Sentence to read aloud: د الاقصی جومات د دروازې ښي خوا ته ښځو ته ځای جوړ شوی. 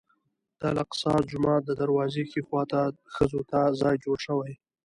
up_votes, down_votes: 2, 0